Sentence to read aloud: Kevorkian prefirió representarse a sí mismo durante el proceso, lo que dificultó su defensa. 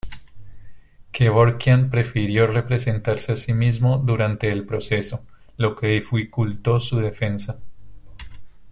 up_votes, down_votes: 1, 2